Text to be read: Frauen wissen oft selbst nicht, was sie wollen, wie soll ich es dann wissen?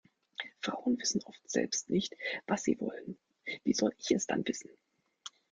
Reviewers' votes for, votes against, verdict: 0, 2, rejected